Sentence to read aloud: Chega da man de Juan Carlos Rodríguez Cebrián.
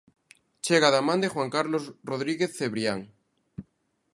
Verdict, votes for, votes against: accepted, 2, 0